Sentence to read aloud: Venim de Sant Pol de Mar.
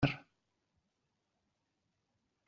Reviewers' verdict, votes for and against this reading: rejected, 0, 2